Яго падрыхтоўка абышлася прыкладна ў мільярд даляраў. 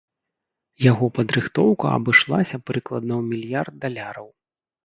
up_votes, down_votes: 2, 0